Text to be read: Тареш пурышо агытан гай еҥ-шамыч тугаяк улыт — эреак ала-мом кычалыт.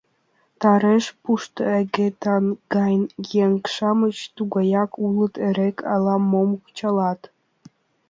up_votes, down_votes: 1, 3